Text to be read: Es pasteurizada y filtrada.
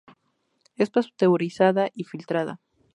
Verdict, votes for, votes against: accepted, 2, 0